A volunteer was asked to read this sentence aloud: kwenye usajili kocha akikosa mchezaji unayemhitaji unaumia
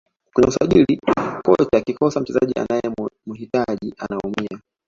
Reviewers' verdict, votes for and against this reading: rejected, 0, 2